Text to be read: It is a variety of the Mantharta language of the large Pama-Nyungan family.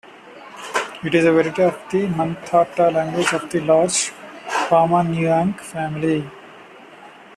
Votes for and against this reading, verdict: 0, 2, rejected